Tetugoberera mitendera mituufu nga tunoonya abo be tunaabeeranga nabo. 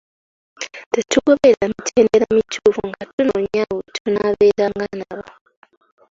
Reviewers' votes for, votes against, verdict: 1, 2, rejected